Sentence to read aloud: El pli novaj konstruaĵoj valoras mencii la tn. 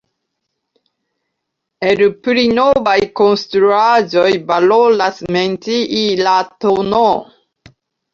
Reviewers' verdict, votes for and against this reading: rejected, 0, 2